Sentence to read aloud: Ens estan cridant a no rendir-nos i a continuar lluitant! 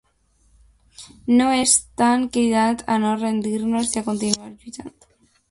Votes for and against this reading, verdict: 1, 2, rejected